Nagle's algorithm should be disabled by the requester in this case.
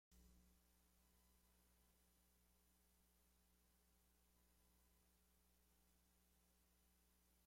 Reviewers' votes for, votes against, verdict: 0, 2, rejected